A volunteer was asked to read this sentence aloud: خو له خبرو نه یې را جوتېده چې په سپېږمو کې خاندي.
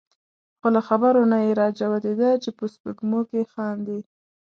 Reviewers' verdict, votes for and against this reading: accepted, 2, 0